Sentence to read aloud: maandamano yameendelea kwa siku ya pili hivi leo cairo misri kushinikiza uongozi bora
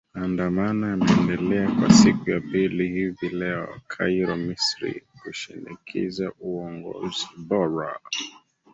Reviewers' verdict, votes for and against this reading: accepted, 4, 3